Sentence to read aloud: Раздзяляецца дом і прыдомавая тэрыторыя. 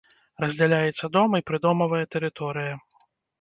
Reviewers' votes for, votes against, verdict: 2, 0, accepted